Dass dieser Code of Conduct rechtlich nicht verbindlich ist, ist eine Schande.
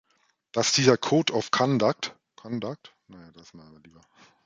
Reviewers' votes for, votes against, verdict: 0, 2, rejected